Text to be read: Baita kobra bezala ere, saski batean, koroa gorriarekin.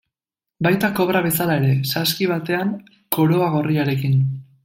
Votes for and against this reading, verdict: 2, 0, accepted